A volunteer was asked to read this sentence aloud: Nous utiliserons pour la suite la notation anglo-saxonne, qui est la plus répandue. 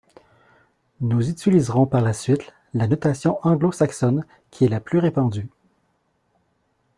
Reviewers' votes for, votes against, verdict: 2, 0, accepted